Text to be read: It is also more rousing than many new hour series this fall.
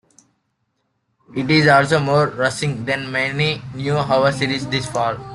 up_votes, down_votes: 2, 1